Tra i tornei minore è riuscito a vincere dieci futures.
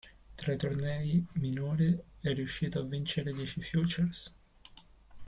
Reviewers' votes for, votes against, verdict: 1, 2, rejected